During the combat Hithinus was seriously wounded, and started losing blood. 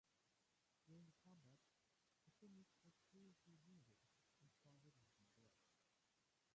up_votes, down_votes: 0, 2